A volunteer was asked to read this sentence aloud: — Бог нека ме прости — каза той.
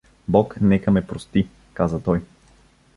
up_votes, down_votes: 2, 0